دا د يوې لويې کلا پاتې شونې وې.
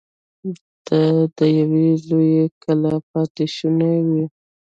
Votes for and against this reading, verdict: 1, 2, rejected